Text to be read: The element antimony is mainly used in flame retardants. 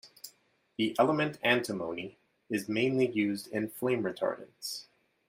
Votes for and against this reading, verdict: 2, 0, accepted